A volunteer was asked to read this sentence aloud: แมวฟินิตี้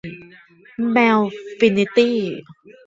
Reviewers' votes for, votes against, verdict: 2, 0, accepted